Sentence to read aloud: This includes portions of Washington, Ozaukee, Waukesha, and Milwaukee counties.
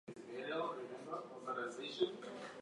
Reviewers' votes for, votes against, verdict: 0, 2, rejected